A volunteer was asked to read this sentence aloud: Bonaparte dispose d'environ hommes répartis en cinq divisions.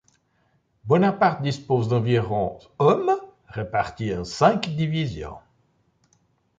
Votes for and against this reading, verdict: 2, 0, accepted